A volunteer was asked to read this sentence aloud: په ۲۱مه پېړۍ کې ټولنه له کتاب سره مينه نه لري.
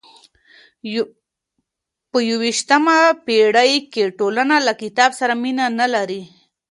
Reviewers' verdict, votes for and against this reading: rejected, 0, 2